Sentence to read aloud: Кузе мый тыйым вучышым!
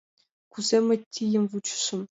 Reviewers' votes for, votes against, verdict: 0, 2, rejected